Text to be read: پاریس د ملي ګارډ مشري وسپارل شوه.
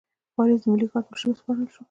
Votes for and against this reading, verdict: 2, 0, accepted